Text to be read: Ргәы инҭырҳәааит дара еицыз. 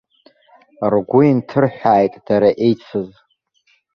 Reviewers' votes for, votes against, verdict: 1, 2, rejected